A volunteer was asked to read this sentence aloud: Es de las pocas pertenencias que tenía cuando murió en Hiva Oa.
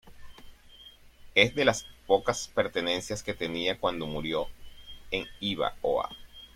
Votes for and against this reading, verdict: 2, 0, accepted